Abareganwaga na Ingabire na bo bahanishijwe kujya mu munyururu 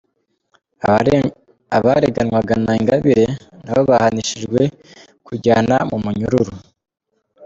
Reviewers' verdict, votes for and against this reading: rejected, 1, 2